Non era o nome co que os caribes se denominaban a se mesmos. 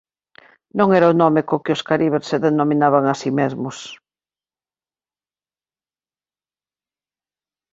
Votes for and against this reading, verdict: 2, 0, accepted